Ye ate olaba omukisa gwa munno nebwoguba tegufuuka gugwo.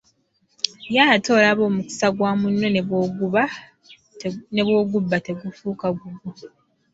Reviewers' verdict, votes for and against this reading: rejected, 1, 2